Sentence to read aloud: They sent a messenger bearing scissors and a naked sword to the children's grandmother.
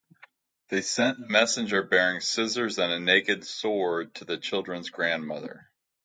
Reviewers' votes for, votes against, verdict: 4, 3, accepted